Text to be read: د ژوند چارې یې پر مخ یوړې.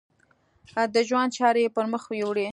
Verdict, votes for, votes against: rejected, 1, 2